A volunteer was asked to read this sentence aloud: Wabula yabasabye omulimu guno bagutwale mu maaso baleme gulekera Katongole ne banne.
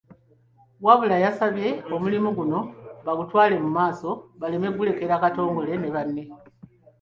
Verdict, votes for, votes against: accepted, 2, 0